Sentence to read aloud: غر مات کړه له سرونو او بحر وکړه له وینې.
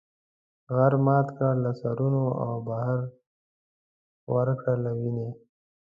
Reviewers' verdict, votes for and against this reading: rejected, 1, 2